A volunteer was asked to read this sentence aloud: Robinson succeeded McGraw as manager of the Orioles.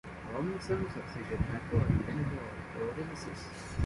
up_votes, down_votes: 0, 2